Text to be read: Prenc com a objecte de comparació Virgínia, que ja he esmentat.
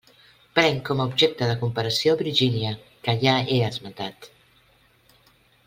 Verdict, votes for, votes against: accepted, 2, 0